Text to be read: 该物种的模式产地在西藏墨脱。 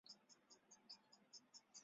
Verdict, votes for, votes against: rejected, 0, 4